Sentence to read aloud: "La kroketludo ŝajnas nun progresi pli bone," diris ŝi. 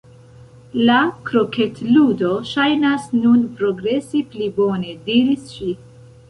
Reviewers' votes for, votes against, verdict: 2, 0, accepted